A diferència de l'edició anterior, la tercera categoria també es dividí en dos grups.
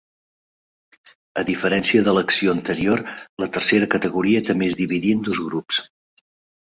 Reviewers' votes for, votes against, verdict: 0, 2, rejected